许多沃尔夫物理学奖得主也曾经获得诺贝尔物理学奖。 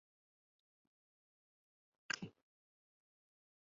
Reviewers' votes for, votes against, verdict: 0, 3, rejected